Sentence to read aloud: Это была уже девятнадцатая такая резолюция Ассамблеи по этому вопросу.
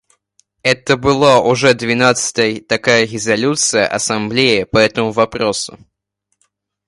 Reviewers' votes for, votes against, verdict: 1, 2, rejected